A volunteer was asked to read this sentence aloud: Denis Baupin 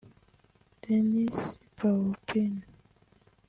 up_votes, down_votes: 1, 2